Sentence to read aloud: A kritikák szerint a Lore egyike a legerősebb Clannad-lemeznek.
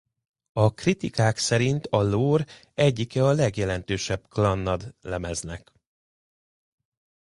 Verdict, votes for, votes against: rejected, 0, 2